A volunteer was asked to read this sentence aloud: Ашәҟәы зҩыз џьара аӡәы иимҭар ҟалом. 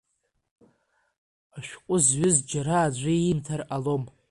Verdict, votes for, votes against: accepted, 2, 0